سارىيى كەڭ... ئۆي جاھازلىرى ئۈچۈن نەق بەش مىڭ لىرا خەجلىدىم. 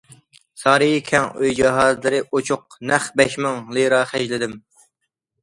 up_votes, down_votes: 1, 2